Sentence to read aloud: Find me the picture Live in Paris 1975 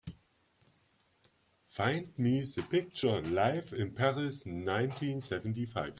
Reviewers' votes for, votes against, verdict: 0, 2, rejected